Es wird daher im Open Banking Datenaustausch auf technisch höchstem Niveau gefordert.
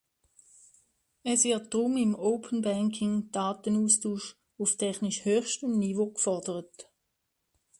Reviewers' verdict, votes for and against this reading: rejected, 1, 2